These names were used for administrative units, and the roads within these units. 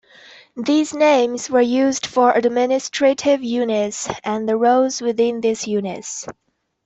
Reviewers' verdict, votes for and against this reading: rejected, 1, 2